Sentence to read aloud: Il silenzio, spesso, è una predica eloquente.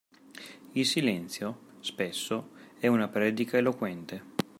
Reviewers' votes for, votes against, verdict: 2, 0, accepted